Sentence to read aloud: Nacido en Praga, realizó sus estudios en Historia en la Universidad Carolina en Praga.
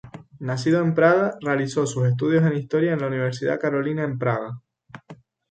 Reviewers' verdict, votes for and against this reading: rejected, 0, 2